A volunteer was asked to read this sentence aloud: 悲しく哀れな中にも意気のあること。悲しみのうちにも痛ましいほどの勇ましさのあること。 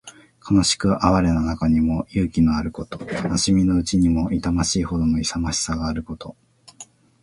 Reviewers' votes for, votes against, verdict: 2, 0, accepted